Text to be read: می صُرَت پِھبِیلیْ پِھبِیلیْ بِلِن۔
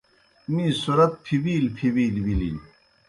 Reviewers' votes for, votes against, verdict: 2, 0, accepted